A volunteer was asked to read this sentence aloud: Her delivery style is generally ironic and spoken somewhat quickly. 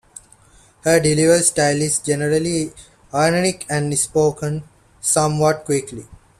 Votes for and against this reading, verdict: 2, 0, accepted